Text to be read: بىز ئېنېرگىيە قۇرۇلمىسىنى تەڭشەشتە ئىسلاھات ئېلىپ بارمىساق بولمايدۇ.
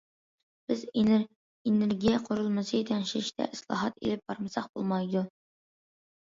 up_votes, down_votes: 0, 2